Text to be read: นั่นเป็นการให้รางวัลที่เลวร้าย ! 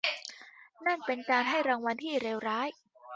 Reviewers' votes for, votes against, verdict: 2, 1, accepted